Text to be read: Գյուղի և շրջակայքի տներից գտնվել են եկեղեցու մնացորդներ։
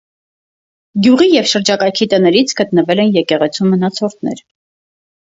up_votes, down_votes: 4, 0